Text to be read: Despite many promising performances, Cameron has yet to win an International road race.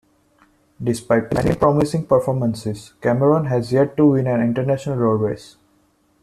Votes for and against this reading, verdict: 2, 1, accepted